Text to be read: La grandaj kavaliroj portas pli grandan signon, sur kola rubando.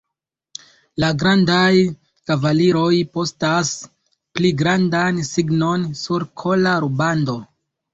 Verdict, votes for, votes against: rejected, 0, 2